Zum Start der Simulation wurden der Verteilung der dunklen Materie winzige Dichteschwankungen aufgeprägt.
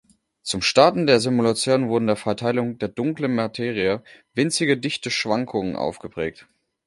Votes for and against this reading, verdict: 1, 2, rejected